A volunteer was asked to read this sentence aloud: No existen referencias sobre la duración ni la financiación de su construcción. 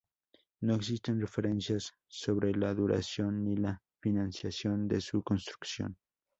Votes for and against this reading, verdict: 4, 0, accepted